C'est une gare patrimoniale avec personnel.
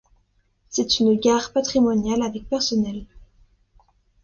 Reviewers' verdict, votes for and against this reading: accepted, 2, 0